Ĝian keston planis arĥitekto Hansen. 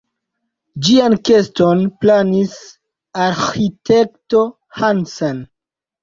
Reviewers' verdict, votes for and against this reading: rejected, 1, 2